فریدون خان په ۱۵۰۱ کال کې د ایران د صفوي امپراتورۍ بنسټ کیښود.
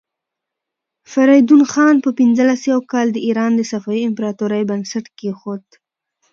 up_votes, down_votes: 0, 2